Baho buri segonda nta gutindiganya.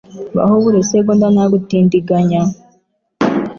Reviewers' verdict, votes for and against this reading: accepted, 2, 1